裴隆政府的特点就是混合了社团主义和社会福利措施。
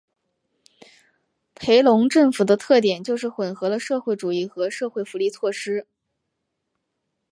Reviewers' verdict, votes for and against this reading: accepted, 5, 0